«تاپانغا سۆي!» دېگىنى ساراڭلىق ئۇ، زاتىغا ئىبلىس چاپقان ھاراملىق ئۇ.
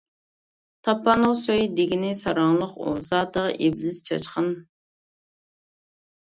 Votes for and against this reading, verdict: 0, 2, rejected